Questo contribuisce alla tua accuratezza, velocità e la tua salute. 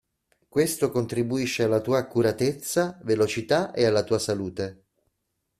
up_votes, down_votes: 0, 2